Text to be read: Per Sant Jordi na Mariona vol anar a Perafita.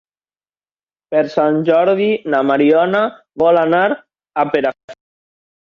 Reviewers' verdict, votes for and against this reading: rejected, 0, 3